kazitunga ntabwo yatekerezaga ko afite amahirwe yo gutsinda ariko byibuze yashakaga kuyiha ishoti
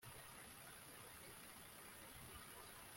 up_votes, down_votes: 0, 2